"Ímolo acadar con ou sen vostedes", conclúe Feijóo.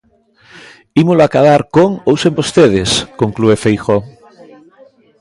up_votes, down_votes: 2, 0